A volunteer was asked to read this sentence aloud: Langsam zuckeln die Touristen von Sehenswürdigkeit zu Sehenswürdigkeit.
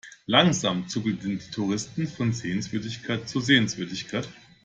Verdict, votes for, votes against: rejected, 1, 2